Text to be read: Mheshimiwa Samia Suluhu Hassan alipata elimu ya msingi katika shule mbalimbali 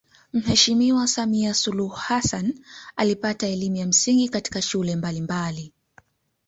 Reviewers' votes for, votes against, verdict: 1, 2, rejected